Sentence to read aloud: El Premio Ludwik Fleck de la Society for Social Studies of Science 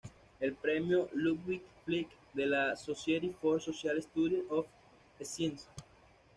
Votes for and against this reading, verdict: 1, 2, rejected